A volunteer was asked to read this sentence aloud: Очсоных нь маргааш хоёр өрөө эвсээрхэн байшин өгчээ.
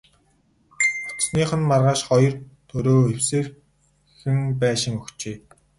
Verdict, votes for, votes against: rejected, 2, 2